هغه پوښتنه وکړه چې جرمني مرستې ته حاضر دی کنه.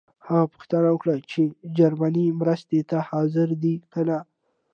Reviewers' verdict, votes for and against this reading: accepted, 2, 0